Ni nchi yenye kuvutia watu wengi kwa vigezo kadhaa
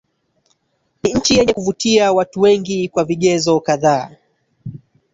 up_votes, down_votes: 1, 2